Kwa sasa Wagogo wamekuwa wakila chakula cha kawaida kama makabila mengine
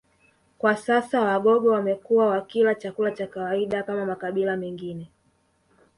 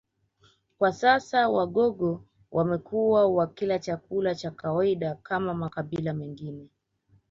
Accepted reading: first